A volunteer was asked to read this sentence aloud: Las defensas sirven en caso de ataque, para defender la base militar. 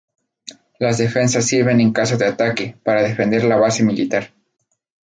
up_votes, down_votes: 0, 2